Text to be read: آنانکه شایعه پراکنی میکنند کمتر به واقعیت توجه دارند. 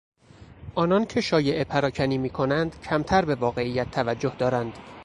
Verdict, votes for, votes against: accepted, 4, 0